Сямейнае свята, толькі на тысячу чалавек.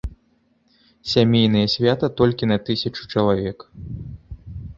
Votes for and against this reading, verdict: 2, 0, accepted